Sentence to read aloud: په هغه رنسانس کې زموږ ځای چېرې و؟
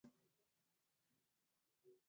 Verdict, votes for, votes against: rejected, 0, 2